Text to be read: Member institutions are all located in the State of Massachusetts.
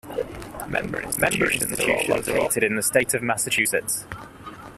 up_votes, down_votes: 1, 2